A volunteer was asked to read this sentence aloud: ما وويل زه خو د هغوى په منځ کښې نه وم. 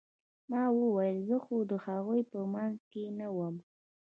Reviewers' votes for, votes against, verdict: 1, 2, rejected